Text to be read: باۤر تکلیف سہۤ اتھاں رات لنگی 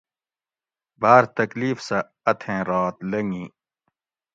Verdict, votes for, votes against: rejected, 1, 2